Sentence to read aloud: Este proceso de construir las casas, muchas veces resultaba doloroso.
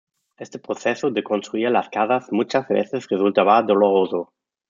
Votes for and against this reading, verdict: 2, 0, accepted